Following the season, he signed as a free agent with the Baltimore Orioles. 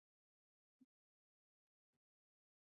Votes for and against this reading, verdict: 1, 2, rejected